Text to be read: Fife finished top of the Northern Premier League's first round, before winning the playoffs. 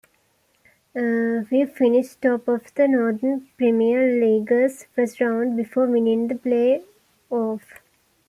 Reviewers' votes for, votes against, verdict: 2, 1, accepted